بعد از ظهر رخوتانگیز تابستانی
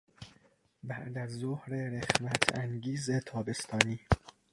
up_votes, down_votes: 0, 2